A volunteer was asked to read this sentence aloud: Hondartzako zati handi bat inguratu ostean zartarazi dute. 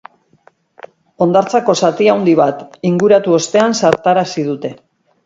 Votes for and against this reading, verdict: 2, 4, rejected